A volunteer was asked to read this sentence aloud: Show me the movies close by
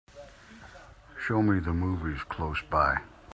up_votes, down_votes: 2, 0